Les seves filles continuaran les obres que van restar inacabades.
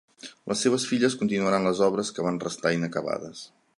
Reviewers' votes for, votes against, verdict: 0, 2, rejected